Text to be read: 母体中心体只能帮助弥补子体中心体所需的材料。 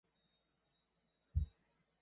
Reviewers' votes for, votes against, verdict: 0, 4, rejected